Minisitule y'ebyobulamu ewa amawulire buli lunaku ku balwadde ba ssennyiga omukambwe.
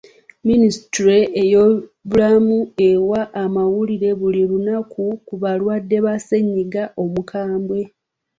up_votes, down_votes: 1, 2